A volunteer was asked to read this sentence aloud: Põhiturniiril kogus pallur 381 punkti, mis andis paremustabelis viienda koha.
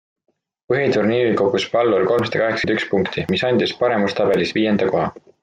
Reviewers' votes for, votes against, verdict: 0, 2, rejected